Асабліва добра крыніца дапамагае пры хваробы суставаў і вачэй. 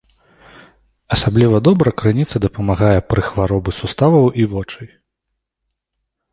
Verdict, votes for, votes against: rejected, 0, 2